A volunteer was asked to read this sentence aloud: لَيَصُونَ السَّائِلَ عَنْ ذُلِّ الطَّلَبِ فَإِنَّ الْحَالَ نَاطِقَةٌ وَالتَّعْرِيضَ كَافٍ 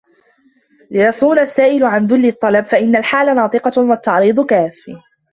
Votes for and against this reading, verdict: 0, 2, rejected